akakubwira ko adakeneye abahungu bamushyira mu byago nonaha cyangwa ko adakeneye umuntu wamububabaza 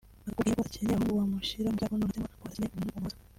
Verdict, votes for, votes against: rejected, 0, 2